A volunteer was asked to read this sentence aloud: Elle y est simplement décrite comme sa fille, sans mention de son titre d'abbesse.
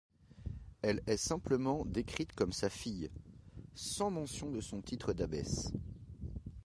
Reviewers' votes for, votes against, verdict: 1, 2, rejected